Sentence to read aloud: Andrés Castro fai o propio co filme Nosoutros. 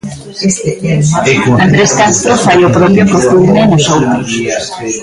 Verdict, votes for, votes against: rejected, 0, 3